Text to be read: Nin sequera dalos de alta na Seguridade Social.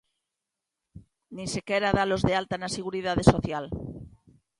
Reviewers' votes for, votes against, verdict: 2, 1, accepted